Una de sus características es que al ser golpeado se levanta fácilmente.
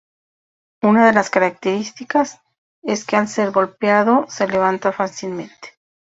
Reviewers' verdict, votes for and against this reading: rejected, 0, 2